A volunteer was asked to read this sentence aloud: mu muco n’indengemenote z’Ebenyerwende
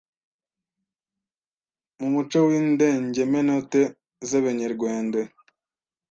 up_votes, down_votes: 1, 2